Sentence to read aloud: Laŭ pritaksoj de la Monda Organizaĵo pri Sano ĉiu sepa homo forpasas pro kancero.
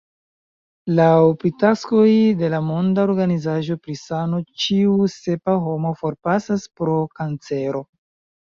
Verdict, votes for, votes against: rejected, 1, 2